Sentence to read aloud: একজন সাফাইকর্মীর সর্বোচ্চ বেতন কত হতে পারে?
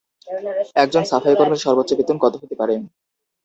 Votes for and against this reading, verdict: 0, 2, rejected